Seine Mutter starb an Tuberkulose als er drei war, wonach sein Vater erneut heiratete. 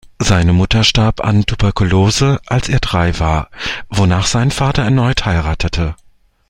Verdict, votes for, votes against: accepted, 2, 0